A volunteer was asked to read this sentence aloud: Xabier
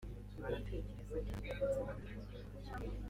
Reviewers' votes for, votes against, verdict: 1, 3, rejected